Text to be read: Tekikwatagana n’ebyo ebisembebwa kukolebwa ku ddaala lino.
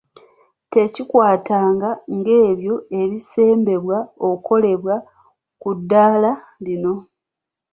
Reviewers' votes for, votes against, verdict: 1, 2, rejected